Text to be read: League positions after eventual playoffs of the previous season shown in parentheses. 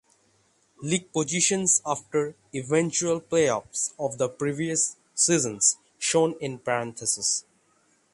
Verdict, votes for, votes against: rejected, 0, 6